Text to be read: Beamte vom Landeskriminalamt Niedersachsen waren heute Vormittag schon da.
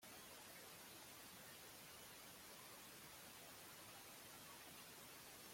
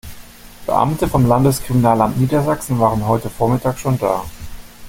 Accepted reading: second